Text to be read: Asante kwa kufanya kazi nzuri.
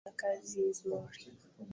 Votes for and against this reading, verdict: 0, 2, rejected